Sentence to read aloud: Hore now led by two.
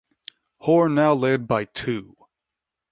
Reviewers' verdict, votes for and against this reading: accepted, 2, 0